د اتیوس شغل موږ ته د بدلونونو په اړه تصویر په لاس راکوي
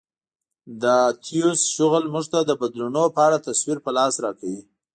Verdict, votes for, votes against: rejected, 1, 2